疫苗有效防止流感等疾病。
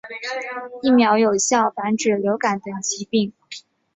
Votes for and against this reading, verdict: 2, 0, accepted